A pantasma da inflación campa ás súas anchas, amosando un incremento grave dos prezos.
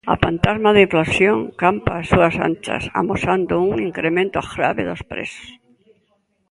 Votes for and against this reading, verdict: 2, 0, accepted